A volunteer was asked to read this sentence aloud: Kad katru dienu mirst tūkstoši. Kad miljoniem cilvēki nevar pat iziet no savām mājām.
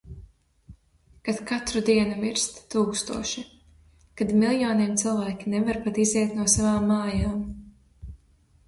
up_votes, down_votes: 0, 2